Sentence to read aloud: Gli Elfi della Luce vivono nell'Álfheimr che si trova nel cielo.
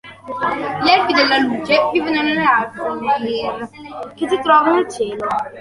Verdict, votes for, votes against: rejected, 1, 2